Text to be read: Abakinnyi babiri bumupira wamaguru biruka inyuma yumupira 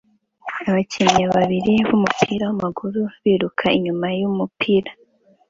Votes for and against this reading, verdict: 2, 0, accepted